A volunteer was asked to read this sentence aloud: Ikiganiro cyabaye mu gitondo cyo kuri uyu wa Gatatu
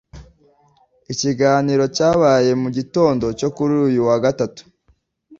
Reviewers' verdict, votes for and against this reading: accepted, 2, 0